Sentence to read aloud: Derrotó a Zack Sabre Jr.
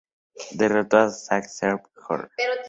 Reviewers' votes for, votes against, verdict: 0, 2, rejected